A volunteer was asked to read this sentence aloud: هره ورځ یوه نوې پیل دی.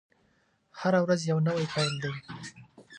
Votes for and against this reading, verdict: 0, 2, rejected